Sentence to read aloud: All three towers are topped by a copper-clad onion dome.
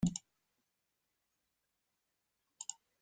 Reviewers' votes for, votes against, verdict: 0, 2, rejected